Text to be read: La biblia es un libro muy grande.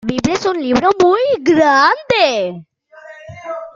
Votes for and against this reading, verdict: 0, 2, rejected